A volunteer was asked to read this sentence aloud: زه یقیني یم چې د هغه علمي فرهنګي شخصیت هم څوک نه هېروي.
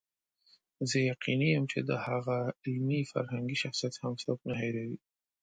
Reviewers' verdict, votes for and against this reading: accepted, 3, 0